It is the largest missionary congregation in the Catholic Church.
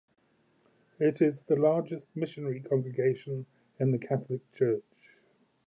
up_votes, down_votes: 2, 0